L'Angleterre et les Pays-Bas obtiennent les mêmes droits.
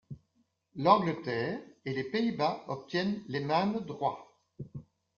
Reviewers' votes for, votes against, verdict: 2, 0, accepted